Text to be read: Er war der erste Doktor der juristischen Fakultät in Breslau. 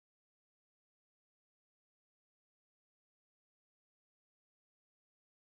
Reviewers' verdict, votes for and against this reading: rejected, 0, 2